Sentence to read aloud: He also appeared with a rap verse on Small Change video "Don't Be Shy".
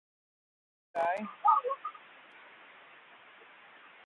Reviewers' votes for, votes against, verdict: 0, 2, rejected